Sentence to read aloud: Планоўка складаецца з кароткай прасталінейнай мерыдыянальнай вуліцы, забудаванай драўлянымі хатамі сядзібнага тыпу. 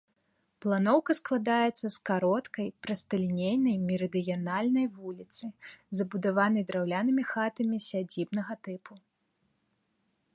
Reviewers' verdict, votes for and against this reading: accepted, 2, 0